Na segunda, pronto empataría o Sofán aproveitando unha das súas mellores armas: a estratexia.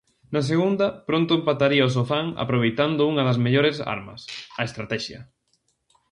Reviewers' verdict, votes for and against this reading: rejected, 0, 2